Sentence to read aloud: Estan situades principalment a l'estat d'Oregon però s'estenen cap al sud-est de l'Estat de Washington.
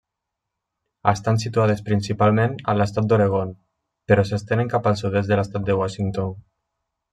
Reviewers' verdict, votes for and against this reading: accepted, 3, 0